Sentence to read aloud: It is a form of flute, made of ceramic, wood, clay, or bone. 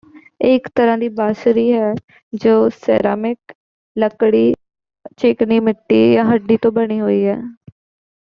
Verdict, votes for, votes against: rejected, 0, 2